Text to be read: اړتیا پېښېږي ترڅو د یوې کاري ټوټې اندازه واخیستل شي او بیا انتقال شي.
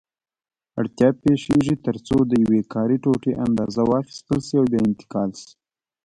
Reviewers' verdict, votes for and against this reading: rejected, 0, 2